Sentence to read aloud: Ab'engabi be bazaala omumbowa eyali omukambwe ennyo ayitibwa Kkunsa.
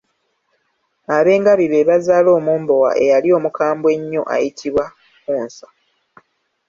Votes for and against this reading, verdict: 2, 0, accepted